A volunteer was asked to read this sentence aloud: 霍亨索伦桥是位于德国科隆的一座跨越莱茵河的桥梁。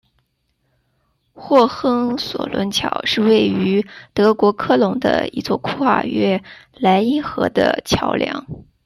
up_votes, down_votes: 2, 1